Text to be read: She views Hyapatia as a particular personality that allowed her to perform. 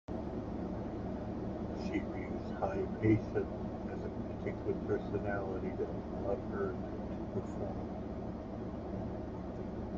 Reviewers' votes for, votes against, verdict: 1, 2, rejected